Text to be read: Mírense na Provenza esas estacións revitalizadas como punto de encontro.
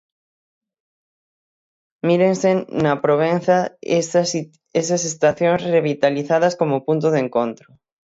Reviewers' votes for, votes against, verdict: 0, 6, rejected